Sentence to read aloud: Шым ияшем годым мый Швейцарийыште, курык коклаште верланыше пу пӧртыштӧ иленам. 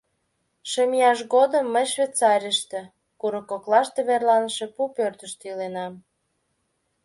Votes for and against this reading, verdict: 2, 1, accepted